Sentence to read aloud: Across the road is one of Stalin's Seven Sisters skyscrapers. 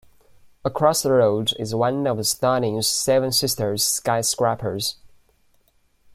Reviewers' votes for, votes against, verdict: 2, 0, accepted